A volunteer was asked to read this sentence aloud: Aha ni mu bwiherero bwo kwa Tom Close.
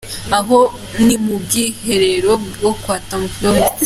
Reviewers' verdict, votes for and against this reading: accepted, 2, 1